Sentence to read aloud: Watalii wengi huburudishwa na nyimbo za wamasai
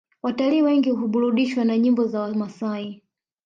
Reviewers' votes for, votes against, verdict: 0, 2, rejected